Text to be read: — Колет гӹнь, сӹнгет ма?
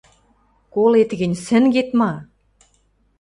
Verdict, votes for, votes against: accepted, 2, 0